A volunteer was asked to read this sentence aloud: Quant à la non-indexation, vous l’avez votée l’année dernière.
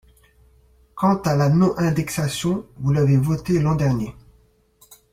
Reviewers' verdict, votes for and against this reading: rejected, 1, 3